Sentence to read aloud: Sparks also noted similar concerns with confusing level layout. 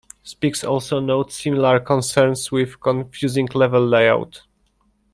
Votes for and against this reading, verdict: 1, 2, rejected